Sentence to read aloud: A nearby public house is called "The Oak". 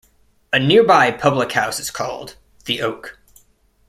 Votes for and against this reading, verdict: 2, 0, accepted